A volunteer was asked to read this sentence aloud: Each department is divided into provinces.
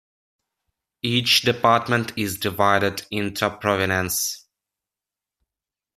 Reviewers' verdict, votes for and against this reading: rejected, 0, 2